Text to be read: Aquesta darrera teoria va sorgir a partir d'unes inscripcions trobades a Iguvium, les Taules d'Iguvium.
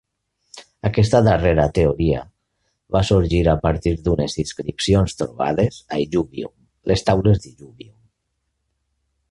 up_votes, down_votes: 1, 2